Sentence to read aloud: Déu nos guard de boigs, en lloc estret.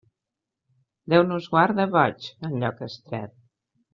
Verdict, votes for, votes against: accepted, 2, 0